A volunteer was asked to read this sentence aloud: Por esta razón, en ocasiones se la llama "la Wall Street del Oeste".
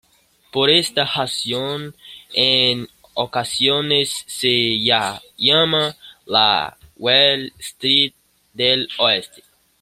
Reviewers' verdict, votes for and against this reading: accepted, 2, 1